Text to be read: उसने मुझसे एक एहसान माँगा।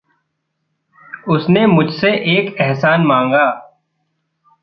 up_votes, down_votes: 1, 2